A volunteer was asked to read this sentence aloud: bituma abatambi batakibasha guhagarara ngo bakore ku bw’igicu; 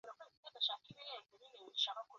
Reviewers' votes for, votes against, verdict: 0, 2, rejected